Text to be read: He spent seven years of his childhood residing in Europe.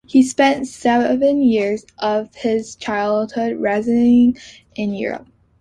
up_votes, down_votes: 1, 2